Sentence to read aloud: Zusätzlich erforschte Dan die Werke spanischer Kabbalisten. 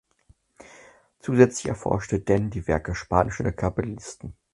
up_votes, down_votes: 4, 2